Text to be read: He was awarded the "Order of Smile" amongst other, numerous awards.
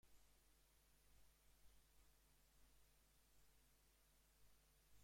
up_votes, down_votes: 0, 2